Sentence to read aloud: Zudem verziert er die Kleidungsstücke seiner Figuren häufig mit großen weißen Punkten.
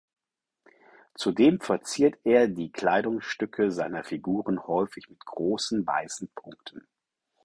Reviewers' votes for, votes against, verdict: 4, 0, accepted